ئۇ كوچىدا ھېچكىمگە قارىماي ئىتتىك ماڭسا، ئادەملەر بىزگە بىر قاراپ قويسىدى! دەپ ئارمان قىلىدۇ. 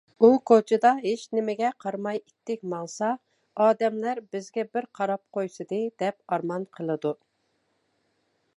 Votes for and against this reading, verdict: 0, 2, rejected